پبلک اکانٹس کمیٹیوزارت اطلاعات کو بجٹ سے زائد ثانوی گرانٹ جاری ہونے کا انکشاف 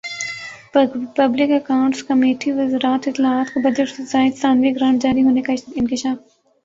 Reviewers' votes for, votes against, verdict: 1, 2, rejected